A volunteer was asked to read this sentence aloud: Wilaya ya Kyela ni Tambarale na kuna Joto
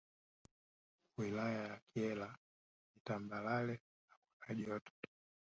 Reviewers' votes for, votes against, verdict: 1, 3, rejected